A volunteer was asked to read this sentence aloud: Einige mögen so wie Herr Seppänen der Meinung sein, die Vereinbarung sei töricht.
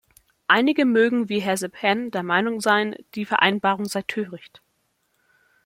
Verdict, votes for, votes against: rejected, 1, 2